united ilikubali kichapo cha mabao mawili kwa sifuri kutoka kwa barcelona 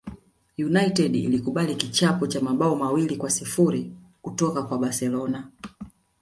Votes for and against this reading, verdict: 2, 1, accepted